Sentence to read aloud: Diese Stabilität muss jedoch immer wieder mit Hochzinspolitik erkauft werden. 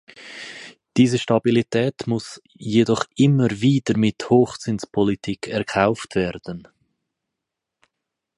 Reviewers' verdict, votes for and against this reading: accepted, 4, 0